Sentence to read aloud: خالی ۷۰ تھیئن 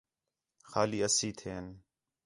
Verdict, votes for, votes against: rejected, 0, 2